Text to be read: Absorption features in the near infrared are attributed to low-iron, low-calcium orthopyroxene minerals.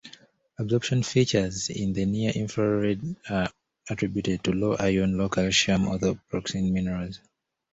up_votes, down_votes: 1, 2